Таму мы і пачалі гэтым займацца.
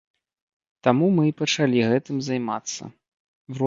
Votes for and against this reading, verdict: 0, 2, rejected